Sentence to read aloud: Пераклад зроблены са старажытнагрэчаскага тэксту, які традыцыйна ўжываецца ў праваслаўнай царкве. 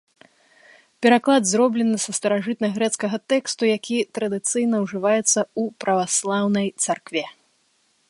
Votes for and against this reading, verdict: 0, 2, rejected